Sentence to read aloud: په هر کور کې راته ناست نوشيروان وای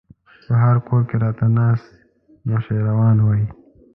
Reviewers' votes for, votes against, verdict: 2, 0, accepted